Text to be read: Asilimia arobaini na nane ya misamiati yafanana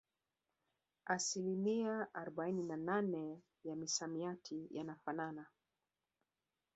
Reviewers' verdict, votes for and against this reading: accepted, 2, 1